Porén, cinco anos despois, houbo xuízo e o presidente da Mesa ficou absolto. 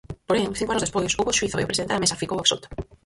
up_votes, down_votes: 0, 4